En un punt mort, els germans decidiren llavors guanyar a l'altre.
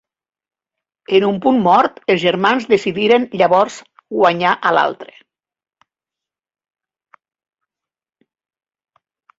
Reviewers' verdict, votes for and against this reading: rejected, 1, 2